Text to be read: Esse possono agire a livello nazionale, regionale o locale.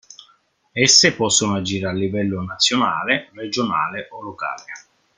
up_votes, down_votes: 0, 2